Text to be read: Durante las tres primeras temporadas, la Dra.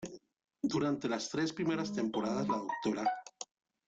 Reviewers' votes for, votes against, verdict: 2, 1, accepted